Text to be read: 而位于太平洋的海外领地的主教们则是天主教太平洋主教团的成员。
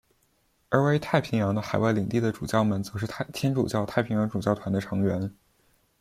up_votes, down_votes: 0, 2